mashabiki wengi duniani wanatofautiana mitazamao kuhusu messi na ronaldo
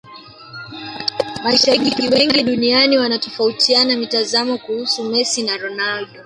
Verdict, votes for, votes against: rejected, 1, 2